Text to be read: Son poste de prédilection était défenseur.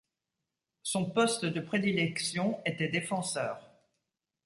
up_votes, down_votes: 2, 0